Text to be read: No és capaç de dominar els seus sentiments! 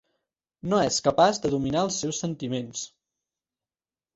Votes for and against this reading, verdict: 4, 0, accepted